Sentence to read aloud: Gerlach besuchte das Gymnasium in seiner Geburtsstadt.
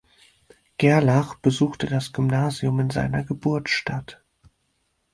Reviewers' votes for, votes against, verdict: 4, 0, accepted